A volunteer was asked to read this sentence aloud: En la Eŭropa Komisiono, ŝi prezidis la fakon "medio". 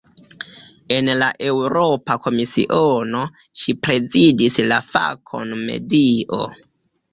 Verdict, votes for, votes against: accepted, 2, 1